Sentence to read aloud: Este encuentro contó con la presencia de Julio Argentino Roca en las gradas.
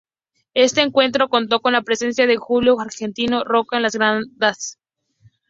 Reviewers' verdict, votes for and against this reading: rejected, 0, 4